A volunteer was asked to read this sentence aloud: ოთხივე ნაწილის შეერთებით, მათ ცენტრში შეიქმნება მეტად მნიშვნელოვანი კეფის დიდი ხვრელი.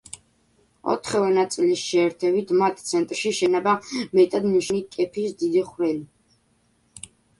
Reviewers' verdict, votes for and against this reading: rejected, 0, 2